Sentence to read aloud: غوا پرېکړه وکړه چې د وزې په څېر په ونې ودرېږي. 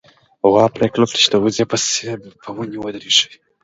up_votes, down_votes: 3, 0